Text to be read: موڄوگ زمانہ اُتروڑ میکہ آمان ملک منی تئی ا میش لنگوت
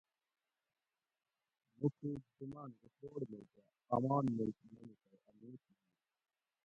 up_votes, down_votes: 0, 2